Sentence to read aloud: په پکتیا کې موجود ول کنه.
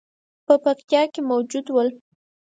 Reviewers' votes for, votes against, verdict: 0, 4, rejected